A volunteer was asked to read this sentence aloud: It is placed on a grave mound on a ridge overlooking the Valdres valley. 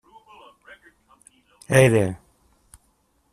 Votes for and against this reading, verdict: 0, 2, rejected